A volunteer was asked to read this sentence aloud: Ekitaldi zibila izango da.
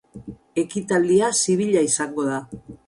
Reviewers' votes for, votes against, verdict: 6, 2, accepted